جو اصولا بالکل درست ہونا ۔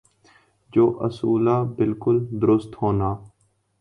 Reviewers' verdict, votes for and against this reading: accepted, 2, 0